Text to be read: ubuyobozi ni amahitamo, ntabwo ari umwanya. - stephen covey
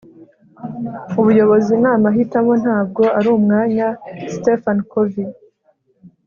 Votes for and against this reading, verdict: 2, 0, accepted